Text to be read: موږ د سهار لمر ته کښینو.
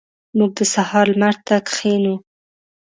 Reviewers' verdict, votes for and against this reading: accepted, 2, 0